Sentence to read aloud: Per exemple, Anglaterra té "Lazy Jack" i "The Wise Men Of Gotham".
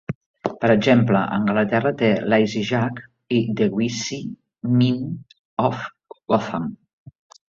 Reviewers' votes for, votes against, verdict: 0, 2, rejected